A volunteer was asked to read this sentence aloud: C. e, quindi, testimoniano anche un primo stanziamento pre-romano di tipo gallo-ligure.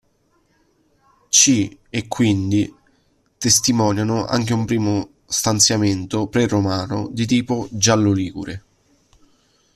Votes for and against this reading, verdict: 0, 2, rejected